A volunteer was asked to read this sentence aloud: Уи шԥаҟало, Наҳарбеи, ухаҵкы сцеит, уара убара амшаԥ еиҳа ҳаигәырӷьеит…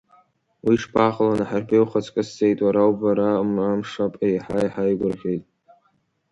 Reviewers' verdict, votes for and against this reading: rejected, 1, 2